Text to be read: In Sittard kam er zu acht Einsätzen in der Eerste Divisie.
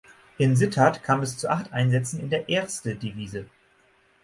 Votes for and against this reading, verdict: 3, 6, rejected